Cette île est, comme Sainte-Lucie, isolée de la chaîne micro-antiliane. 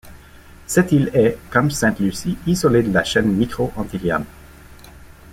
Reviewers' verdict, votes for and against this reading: accepted, 2, 0